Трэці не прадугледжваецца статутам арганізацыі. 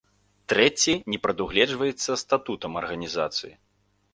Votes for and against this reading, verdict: 2, 0, accepted